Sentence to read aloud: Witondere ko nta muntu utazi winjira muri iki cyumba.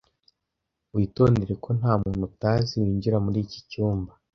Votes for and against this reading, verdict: 2, 0, accepted